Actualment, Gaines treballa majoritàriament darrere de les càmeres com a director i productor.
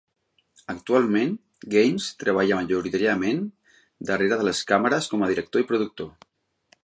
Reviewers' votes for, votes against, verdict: 0, 2, rejected